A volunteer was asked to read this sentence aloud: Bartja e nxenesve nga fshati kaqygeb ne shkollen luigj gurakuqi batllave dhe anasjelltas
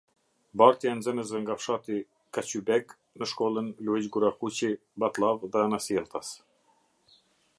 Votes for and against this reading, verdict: 0, 2, rejected